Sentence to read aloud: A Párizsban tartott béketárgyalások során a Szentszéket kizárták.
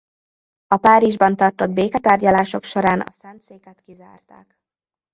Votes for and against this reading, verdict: 0, 2, rejected